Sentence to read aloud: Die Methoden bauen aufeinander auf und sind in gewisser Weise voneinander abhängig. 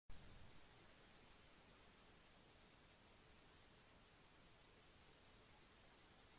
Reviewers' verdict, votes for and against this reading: rejected, 0, 2